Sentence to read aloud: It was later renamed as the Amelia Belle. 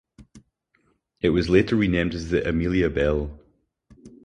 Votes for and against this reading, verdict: 4, 0, accepted